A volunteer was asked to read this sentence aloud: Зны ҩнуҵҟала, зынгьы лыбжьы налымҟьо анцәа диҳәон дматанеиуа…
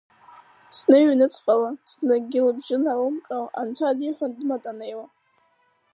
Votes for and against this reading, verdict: 5, 0, accepted